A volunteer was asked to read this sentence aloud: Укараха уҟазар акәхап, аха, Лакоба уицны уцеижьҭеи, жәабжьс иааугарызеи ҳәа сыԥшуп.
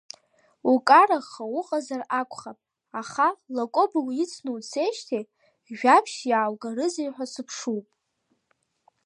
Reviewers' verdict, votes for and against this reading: accepted, 2, 1